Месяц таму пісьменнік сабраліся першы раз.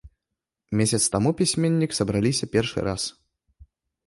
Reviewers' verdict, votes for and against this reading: accepted, 2, 0